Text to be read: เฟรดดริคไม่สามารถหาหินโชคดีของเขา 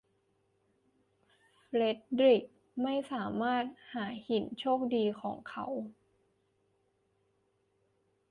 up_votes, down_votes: 2, 0